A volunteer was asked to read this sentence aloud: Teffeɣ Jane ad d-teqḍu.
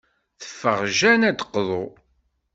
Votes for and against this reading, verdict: 2, 0, accepted